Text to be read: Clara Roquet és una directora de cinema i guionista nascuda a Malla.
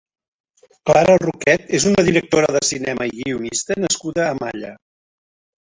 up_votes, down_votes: 1, 2